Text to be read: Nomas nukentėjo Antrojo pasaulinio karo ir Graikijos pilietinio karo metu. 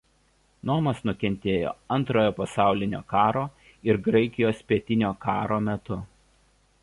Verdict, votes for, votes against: rejected, 0, 2